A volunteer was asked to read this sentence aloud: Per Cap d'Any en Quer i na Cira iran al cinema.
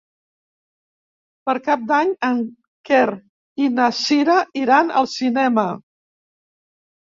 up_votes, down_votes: 0, 2